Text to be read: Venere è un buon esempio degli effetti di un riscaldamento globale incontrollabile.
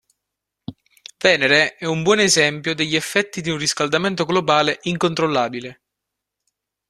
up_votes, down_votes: 2, 0